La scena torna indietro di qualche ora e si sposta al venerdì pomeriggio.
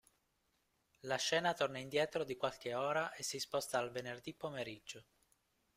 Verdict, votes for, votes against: rejected, 1, 2